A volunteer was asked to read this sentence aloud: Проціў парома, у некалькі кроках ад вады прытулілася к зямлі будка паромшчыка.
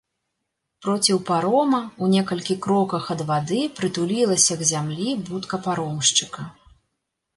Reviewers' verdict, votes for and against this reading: accepted, 2, 1